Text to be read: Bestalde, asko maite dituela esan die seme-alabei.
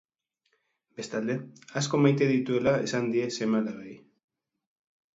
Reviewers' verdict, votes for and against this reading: accepted, 2, 0